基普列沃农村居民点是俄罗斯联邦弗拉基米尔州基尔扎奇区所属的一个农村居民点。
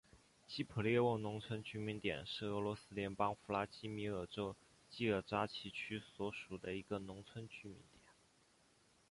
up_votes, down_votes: 2, 3